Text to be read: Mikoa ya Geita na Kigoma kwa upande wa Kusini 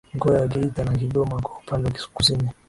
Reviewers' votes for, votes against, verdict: 6, 2, accepted